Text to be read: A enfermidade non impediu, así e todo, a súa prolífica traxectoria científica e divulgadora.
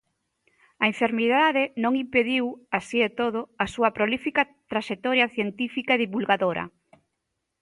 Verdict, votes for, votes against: accepted, 2, 0